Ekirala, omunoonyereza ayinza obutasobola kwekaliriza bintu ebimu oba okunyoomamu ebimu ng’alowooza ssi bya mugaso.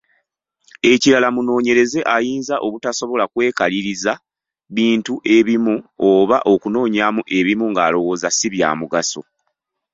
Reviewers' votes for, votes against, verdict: 3, 2, accepted